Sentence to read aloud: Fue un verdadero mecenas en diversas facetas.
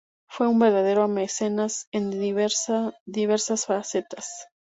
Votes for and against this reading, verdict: 2, 2, rejected